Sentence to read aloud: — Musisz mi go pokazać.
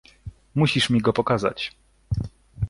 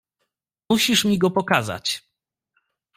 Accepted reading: first